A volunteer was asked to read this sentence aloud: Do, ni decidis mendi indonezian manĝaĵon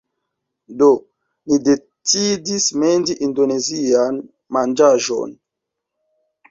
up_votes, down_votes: 1, 2